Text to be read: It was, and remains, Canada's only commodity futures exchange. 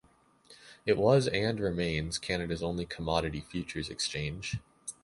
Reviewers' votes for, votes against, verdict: 2, 0, accepted